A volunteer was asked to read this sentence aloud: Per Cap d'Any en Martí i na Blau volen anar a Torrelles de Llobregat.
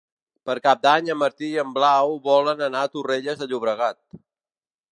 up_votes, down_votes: 1, 3